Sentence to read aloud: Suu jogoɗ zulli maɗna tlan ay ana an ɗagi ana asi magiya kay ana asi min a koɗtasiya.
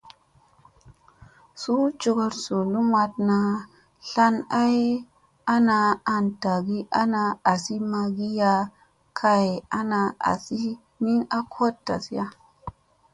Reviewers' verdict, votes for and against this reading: accepted, 2, 0